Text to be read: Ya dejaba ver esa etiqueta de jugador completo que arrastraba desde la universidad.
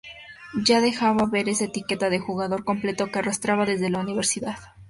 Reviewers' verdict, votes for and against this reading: accepted, 4, 0